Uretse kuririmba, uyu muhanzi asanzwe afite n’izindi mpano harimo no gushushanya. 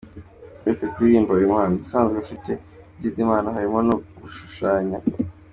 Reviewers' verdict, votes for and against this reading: rejected, 1, 2